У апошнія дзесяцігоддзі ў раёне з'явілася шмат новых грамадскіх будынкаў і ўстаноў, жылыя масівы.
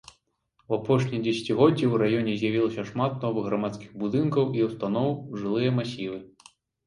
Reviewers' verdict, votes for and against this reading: accepted, 3, 0